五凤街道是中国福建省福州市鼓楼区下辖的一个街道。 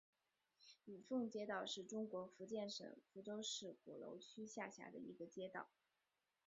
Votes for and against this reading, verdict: 3, 4, rejected